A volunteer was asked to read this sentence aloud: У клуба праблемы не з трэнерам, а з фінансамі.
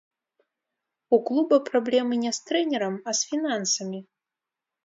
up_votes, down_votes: 0, 2